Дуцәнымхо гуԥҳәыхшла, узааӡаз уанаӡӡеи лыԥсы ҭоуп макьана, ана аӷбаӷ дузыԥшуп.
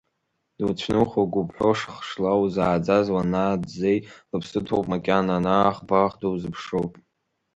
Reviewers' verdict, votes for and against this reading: rejected, 0, 2